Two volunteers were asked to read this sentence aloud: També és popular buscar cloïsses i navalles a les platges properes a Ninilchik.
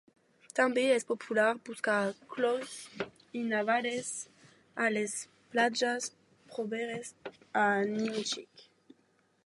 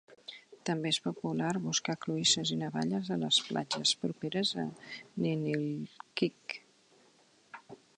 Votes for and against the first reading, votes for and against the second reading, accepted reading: 0, 2, 2, 0, second